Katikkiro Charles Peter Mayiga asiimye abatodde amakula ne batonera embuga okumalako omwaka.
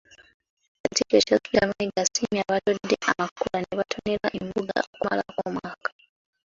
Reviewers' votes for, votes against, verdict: 0, 2, rejected